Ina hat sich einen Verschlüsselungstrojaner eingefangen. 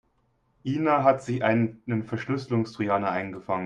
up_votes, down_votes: 2, 3